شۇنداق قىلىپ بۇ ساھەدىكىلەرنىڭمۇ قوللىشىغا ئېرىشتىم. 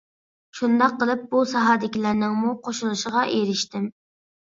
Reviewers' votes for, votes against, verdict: 0, 2, rejected